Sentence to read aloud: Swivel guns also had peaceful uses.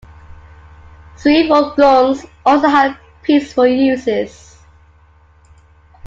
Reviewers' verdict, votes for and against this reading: rejected, 0, 2